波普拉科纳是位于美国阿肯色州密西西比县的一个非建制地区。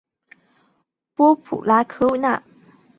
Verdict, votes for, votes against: rejected, 1, 3